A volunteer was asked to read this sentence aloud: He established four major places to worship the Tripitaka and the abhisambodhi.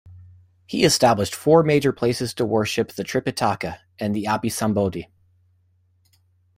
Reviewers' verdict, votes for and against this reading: rejected, 1, 2